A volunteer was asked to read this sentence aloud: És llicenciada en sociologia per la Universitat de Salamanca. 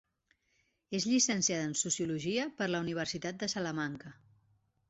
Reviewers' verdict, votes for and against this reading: accepted, 3, 0